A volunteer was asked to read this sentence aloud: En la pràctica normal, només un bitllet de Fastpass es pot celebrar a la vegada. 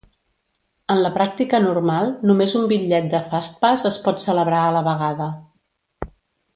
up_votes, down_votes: 3, 0